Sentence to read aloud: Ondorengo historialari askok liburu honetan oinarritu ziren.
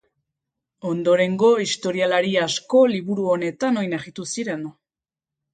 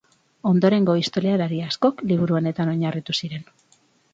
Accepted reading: second